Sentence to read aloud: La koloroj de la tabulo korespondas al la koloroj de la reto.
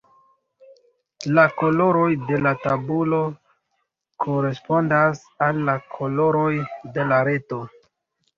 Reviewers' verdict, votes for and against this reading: rejected, 1, 3